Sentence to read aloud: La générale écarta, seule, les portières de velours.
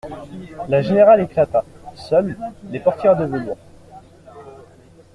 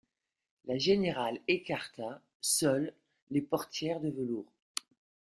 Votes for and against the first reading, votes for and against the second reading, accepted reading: 0, 2, 2, 0, second